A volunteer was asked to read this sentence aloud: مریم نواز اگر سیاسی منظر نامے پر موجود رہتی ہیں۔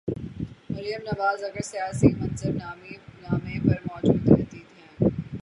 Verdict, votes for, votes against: rejected, 3, 3